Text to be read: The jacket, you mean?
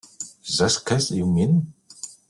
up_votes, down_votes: 0, 2